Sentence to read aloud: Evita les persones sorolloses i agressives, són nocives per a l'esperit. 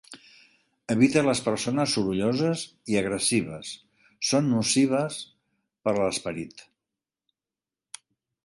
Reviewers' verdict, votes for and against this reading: accepted, 2, 1